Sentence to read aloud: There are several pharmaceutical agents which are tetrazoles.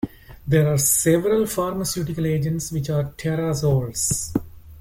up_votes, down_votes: 0, 2